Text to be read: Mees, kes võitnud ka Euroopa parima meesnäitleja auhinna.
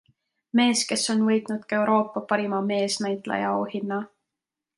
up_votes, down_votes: 1, 2